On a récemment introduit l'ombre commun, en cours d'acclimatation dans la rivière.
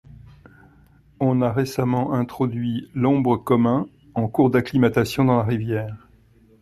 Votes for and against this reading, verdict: 2, 0, accepted